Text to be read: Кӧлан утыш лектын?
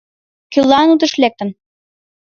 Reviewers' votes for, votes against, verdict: 2, 0, accepted